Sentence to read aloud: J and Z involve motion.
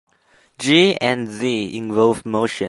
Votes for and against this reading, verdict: 2, 0, accepted